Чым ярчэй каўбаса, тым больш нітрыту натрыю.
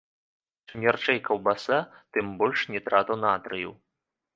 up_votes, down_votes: 1, 2